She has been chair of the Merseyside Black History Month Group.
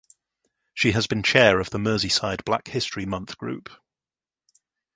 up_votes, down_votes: 2, 0